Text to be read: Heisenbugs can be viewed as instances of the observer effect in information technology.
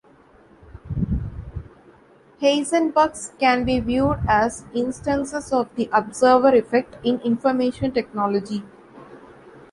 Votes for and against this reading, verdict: 2, 1, accepted